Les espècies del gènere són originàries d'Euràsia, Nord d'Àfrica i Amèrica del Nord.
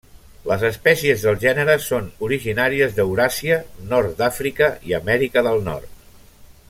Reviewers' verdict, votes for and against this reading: rejected, 0, 2